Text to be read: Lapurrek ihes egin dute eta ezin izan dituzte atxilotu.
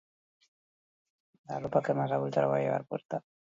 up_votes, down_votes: 0, 2